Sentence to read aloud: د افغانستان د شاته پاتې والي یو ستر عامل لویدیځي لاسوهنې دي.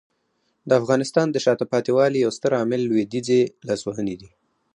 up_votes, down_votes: 2, 2